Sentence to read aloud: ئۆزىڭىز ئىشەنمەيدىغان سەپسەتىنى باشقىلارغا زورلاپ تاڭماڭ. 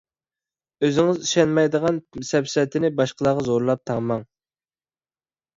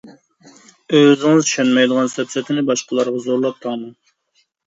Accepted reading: first